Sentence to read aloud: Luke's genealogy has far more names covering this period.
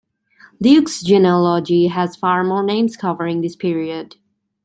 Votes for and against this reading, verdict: 1, 2, rejected